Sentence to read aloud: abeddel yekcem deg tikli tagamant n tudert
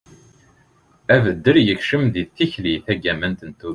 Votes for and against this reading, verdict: 2, 0, accepted